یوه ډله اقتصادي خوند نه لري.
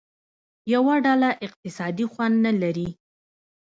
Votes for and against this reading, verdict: 2, 1, accepted